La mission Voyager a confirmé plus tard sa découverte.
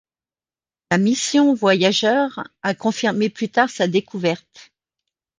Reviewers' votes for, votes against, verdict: 0, 2, rejected